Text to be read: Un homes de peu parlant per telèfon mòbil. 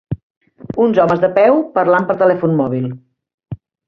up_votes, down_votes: 1, 2